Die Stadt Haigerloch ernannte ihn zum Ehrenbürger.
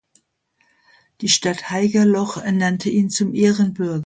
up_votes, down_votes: 0, 2